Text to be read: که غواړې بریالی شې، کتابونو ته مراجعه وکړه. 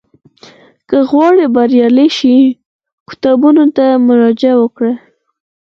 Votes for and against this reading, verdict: 2, 4, rejected